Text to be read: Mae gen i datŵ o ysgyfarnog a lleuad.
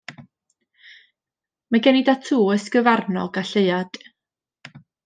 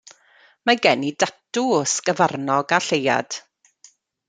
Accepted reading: first